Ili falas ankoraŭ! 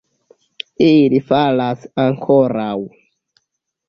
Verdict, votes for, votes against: rejected, 1, 2